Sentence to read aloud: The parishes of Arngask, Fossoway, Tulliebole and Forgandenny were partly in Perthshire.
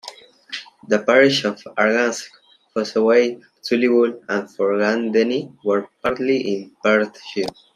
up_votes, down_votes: 2, 0